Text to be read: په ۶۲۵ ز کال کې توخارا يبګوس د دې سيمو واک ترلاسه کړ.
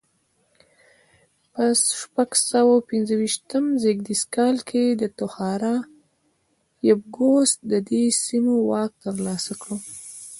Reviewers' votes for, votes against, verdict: 0, 2, rejected